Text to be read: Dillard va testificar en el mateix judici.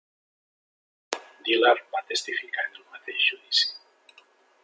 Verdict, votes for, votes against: rejected, 2, 3